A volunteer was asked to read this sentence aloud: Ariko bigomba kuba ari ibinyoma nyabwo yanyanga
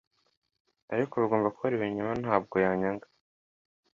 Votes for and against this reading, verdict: 2, 0, accepted